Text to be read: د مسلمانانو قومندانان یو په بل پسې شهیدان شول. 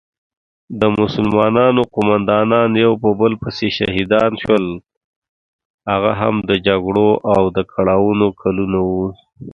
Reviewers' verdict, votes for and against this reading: rejected, 0, 2